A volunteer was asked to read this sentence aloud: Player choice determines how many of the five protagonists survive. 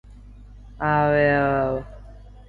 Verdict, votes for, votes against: rejected, 0, 2